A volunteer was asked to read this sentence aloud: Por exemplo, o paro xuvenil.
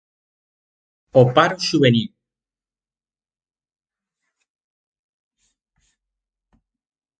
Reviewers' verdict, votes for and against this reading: rejected, 0, 2